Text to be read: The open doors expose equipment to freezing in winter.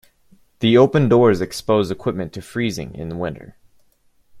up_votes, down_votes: 1, 2